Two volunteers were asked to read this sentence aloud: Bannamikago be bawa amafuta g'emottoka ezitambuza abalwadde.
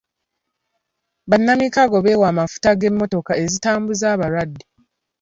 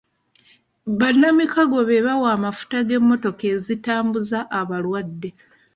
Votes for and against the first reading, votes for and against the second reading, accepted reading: 1, 2, 2, 0, second